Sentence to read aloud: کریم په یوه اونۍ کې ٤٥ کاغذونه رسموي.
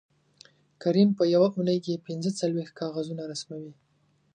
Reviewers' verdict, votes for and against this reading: rejected, 0, 2